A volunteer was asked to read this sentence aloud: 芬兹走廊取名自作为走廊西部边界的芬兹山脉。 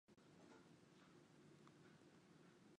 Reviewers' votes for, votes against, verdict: 0, 2, rejected